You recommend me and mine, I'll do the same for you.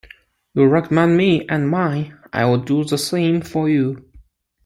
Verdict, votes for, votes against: accepted, 2, 0